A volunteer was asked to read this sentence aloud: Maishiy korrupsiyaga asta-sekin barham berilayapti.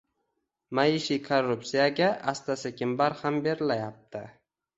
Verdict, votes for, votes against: rejected, 1, 2